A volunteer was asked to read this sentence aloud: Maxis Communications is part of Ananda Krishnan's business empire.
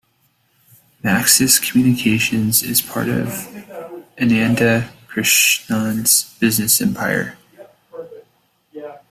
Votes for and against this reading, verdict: 1, 2, rejected